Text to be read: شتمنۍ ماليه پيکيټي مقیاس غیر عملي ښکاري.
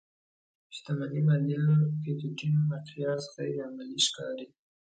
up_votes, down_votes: 2, 0